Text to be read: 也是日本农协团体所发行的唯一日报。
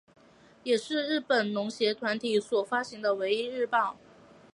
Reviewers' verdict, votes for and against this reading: accepted, 2, 0